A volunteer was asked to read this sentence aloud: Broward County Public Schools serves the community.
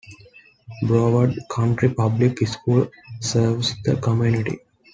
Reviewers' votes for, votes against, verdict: 1, 2, rejected